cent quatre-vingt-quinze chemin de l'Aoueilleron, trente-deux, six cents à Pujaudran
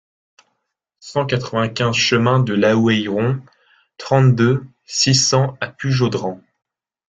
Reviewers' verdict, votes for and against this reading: accepted, 2, 0